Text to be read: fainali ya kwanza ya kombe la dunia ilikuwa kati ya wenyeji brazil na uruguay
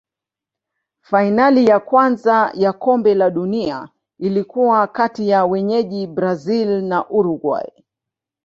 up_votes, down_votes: 6, 0